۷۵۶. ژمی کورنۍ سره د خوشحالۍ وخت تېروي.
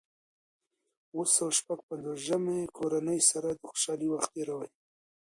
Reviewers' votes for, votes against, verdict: 0, 2, rejected